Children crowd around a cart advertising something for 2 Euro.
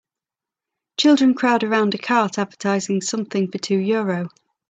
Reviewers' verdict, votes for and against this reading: rejected, 0, 2